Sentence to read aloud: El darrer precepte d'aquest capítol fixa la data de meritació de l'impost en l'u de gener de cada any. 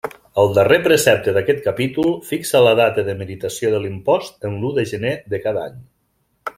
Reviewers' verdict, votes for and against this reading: accepted, 2, 0